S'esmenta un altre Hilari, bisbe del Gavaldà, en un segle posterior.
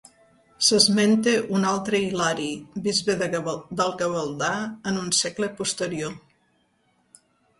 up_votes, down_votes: 1, 2